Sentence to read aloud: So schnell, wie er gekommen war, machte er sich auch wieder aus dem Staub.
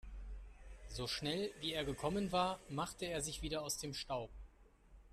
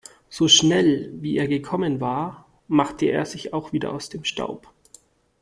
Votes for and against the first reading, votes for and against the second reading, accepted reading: 1, 2, 2, 0, second